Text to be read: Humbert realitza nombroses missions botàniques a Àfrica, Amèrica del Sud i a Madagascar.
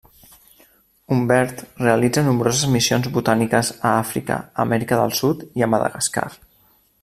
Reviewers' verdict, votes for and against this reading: rejected, 0, 2